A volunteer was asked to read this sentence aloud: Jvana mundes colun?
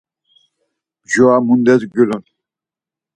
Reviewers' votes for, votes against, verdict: 2, 4, rejected